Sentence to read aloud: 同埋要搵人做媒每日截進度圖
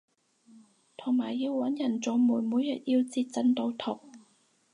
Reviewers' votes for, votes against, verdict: 0, 4, rejected